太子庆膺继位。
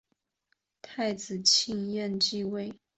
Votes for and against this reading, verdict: 0, 2, rejected